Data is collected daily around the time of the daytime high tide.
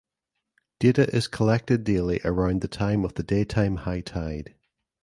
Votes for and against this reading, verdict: 3, 0, accepted